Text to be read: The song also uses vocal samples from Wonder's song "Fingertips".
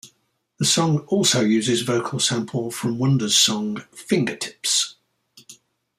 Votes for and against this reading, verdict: 0, 2, rejected